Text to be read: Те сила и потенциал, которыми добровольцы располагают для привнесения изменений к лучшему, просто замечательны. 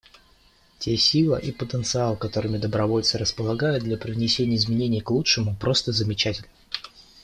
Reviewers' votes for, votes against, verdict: 2, 0, accepted